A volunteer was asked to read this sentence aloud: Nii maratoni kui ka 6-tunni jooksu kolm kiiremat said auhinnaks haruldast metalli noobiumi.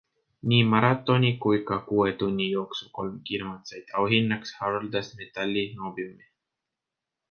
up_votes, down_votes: 0, 2